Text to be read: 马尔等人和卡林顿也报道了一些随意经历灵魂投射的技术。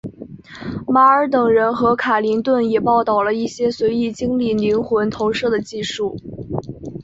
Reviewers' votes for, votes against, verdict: 5, 0, accepted